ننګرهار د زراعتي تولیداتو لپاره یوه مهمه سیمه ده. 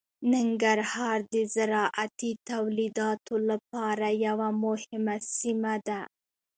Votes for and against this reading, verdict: 2, 0, accepted